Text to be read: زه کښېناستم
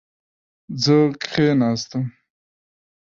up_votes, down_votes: 1, 2